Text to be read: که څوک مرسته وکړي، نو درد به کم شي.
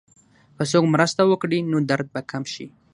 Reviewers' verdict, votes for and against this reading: accepted, 6, 0